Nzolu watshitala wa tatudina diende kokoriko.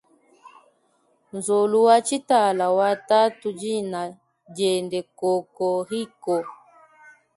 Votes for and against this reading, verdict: 2, 0, accepted